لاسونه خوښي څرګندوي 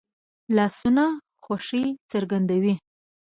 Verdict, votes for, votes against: accepted, 3, 0